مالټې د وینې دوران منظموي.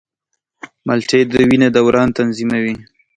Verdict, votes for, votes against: accepted, 2, 0